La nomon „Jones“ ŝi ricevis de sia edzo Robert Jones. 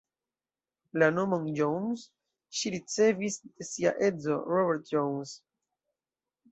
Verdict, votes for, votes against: accepted, 2, 1